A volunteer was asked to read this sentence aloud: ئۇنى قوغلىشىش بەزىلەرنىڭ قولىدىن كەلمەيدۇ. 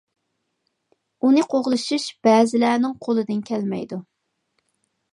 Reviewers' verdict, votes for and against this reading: accepted, 2, 0